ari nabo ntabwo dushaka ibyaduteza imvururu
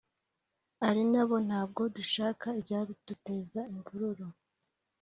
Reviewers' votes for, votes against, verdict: 4, 0, accepted